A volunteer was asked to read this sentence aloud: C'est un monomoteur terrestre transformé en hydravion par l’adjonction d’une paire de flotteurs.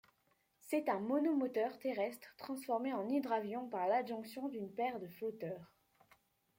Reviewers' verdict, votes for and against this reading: accepted, 2, 0